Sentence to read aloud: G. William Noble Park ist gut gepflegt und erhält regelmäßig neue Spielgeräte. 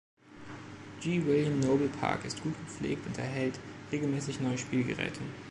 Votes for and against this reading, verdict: 2, 0, accepted